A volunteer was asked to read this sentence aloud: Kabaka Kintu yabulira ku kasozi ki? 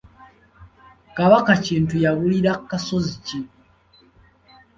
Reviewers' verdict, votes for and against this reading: rejected, 0, 2